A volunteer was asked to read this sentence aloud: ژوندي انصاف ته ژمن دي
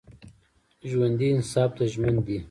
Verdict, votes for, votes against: rejected, 1, 2